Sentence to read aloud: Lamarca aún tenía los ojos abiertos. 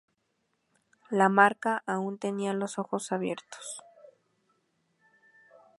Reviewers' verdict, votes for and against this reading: accepted, 2, 0